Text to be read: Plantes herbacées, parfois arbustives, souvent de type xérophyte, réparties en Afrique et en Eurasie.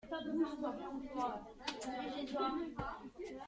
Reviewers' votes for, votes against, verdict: 0, 3, rejected